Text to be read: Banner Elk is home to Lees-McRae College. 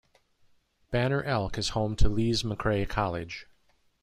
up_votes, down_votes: 2, 1